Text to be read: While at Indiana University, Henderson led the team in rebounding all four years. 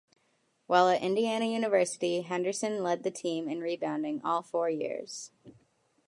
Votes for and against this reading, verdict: 2, 0, accepted